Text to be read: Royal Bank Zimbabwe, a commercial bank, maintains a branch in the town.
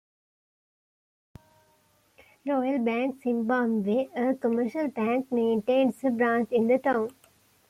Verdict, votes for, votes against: accepted, 2, 0